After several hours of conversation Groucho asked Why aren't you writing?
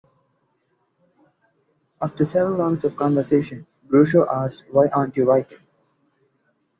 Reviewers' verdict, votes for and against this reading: rejected, 0, 2